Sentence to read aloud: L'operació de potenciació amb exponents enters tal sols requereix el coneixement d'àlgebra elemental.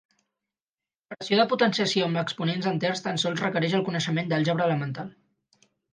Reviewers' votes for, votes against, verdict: 2, 4, rejected